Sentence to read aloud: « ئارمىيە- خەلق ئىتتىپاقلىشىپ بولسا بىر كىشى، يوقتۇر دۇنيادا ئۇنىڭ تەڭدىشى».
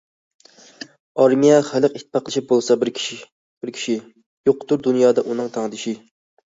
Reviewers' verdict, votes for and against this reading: rejected, 1, 2